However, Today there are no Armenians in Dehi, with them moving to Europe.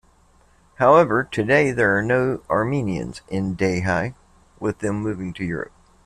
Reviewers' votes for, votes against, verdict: 2, 0, accepted